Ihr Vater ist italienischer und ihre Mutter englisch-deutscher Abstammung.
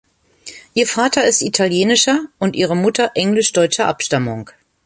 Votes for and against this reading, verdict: 2, 0, accepted